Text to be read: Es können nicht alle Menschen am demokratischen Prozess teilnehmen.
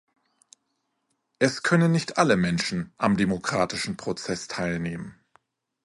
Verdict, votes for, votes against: accepted, 2, 0